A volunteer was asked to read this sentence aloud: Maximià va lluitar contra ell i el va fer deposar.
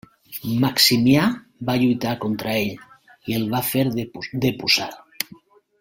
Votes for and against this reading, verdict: 1, 3, rejected